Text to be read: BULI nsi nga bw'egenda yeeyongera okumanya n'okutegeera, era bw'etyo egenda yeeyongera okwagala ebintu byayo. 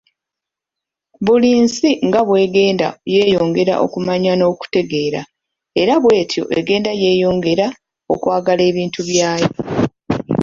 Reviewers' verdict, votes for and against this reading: rejected, 0, 2